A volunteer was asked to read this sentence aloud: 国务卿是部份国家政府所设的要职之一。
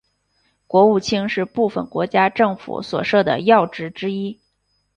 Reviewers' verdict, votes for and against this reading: accepted, 5, 1